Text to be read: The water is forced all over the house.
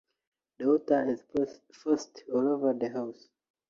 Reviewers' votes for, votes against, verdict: 0, 2, rejected